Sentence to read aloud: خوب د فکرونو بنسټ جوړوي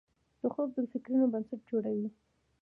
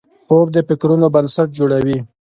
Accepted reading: first